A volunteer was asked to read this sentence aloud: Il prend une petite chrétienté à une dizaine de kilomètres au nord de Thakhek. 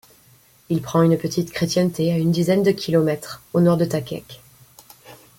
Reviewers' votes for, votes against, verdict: 2, 0, accepted